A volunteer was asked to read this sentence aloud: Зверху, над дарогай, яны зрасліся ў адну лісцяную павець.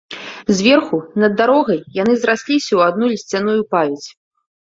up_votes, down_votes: 0, 2